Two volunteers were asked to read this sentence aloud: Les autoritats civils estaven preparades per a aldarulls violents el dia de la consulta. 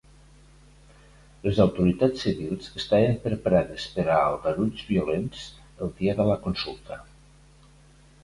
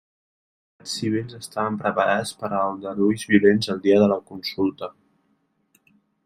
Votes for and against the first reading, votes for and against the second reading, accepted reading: 2, 0, 0, 2, first